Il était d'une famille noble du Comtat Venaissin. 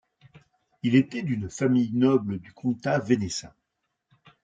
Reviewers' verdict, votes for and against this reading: accepted, 3, 0